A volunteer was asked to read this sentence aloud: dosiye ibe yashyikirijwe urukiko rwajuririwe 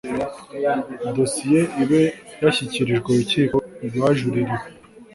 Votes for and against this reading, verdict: 2, 0, accepted